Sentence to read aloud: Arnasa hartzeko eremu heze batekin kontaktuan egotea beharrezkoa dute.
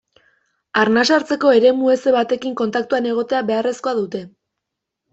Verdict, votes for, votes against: rejected, 1, 2